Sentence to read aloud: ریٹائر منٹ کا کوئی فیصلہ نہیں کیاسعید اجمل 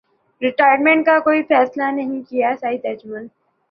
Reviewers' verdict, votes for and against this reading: accepted, 2, 0